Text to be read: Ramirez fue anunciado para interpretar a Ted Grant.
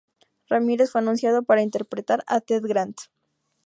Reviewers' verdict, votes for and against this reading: rejected, 0, 2